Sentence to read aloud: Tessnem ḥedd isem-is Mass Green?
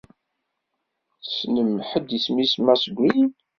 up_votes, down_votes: 3, 0